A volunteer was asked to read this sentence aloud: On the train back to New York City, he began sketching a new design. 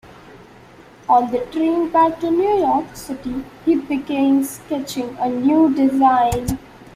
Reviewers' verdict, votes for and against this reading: rejected, 0, 2